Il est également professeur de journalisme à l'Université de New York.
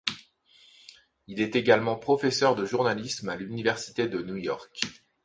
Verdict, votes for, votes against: accepted, 2, 0